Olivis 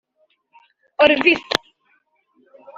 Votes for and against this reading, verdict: 1, 2, rejected